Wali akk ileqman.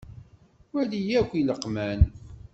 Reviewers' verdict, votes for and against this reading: accepted, 2, 0